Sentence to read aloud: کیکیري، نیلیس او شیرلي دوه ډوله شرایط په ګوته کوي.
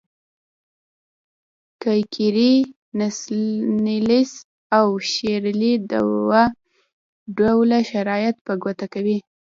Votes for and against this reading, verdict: 0, 2, rejected